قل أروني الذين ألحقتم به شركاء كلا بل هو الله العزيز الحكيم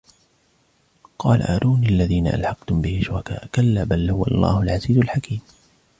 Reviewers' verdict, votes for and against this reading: accepted, 2, 0